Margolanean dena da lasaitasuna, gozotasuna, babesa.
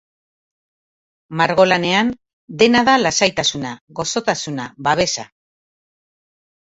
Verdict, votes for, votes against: accepted, 2, 0